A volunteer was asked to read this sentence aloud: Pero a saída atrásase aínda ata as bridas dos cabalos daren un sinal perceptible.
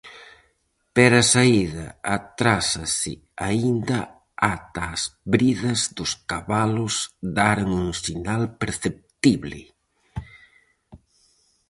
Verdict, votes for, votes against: accepted, 4, 0